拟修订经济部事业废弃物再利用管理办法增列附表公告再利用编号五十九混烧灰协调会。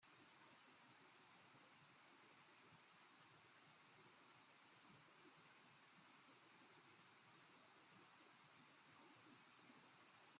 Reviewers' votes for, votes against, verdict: 0, 2, rejected